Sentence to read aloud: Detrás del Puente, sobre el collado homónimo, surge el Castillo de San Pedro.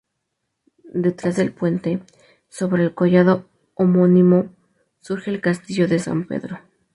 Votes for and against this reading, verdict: 2, 0, accepted